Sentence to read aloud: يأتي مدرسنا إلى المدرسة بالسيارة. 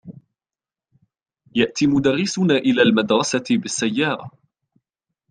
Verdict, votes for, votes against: accepted, 2, 0